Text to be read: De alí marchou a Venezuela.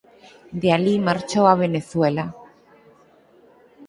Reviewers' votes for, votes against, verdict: 4, 0, accepted